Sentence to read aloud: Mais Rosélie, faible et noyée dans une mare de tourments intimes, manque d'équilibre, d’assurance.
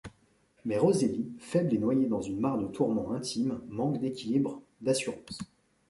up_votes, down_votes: 3, 0